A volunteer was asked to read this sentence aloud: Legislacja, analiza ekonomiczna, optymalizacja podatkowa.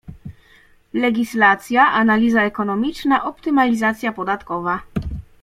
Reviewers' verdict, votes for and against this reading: accepted, 2, 0